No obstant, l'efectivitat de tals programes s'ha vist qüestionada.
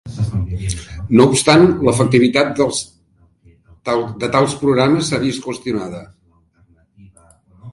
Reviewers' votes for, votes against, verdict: 0, 3, rejected